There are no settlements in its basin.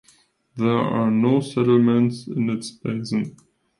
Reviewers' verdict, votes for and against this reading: accepted, 2, 1